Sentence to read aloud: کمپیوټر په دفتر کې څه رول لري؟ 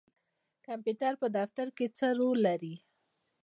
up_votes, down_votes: 2, 0